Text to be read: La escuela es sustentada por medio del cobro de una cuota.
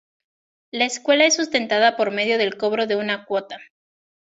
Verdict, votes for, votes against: accepted, 2, 0